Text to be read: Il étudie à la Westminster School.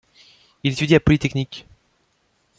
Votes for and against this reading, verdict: 1, 2, rejected